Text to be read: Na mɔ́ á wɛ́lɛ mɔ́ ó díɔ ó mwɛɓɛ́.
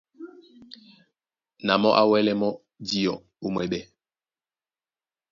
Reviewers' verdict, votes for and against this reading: rejected, 1, 2